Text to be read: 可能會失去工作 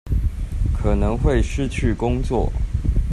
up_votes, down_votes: 2, 0